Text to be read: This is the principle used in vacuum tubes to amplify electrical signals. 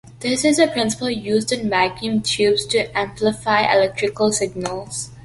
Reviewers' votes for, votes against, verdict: 2, 0, accepted